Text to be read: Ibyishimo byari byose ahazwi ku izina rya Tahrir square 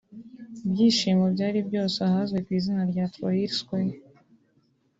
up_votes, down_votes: 3, 1